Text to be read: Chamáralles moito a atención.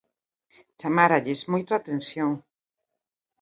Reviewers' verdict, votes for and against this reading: accepted, 2, 0